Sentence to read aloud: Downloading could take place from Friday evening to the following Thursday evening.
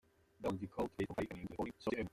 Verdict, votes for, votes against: rejected, 0, 2